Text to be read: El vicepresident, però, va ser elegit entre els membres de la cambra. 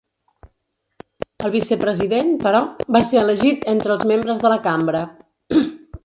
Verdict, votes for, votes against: rejected, 1, 2